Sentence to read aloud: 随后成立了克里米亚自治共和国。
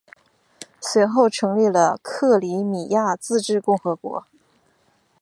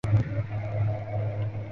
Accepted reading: first